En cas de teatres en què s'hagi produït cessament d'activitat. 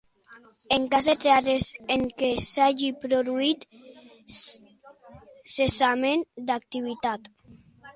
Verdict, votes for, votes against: rejected, 0, 2